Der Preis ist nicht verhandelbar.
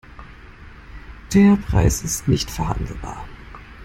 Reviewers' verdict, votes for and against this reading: rejected, 1, 2